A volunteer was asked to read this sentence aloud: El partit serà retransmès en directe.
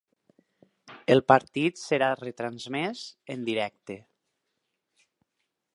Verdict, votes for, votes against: accepted, 4, 0